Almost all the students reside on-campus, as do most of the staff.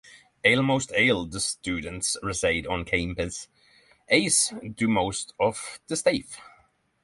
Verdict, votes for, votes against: rejected, 3, 6